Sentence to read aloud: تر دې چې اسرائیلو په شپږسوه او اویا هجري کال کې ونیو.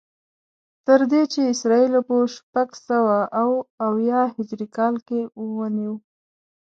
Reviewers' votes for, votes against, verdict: 2, 0, accepted